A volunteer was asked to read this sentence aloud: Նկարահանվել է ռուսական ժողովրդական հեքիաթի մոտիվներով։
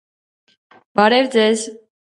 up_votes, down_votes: 0, 2